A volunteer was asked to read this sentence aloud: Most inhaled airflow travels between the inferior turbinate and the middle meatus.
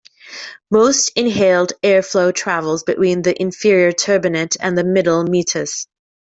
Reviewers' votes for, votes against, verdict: 1, 2, rejected